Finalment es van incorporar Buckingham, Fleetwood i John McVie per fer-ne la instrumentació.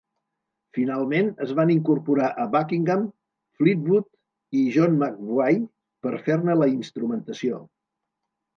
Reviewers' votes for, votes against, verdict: 0, 2, rejected